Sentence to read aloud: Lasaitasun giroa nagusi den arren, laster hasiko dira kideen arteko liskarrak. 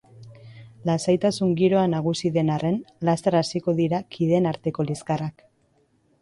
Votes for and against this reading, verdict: 2, 1, accepted